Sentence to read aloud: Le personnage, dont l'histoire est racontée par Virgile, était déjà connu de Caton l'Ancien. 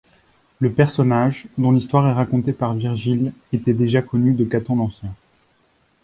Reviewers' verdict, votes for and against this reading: accepted, 2, 0